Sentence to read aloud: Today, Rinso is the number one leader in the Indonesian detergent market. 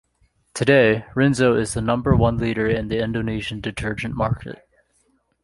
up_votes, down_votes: 3, 0